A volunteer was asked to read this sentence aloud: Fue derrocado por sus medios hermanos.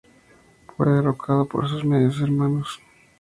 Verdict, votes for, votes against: accepted, 2, 0